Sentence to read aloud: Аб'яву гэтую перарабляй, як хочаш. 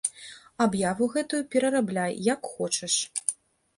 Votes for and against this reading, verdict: 2, 0, accepted